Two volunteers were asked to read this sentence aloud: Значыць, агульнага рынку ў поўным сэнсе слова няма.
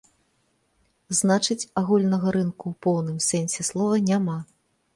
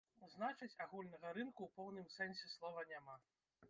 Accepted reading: first